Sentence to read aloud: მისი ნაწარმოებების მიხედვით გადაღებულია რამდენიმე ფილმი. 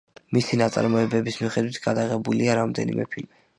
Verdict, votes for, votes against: accepted, 2, 0